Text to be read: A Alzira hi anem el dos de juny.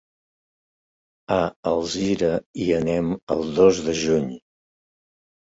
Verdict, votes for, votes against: accepted, 3, 0